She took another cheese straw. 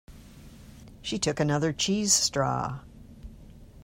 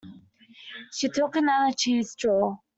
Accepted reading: first